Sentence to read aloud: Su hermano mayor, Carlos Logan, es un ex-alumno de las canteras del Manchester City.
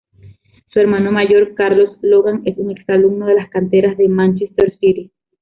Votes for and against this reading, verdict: 1, 3, rejected